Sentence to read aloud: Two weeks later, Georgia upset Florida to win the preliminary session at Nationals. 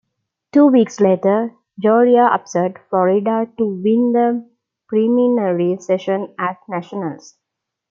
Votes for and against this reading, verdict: 0, 2, rejected